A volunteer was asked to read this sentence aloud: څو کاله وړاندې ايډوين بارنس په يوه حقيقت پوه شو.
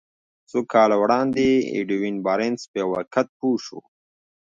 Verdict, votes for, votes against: rejected, 1, 2